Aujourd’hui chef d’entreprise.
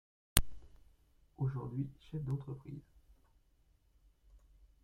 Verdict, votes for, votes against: rejected, 0, 2